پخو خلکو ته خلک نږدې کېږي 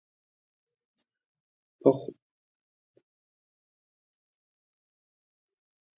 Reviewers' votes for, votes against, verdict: 0, 2, rejected